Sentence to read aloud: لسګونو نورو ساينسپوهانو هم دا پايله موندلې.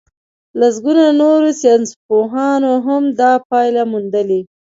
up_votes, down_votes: 2, 0